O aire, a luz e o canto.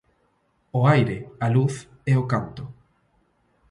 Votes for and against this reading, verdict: 2, 1, accepted